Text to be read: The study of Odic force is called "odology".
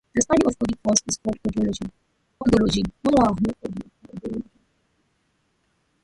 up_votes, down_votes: 0, 2